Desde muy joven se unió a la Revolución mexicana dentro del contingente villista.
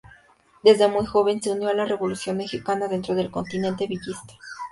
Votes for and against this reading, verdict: 0, 2, rejected